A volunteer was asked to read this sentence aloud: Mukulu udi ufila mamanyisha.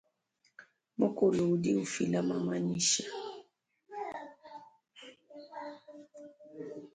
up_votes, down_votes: 2, 0